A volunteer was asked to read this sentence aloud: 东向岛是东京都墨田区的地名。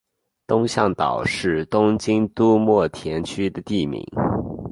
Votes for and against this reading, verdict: 4, 0, accepted